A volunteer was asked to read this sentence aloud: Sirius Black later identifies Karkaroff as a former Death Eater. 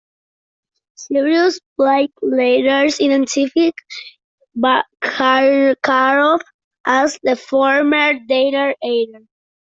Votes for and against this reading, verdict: 0, 2, rejected